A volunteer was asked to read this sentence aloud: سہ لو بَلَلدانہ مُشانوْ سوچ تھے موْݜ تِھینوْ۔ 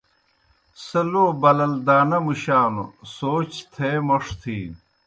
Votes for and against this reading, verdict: 2, 0, accepted